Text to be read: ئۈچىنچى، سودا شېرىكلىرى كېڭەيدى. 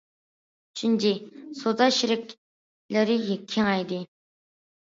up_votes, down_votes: 0, 2